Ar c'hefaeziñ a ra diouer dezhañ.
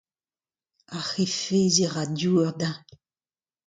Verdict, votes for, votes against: accepted, 2, 0